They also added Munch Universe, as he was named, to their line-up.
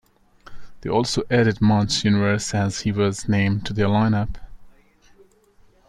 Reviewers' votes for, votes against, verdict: 2, 1, accepted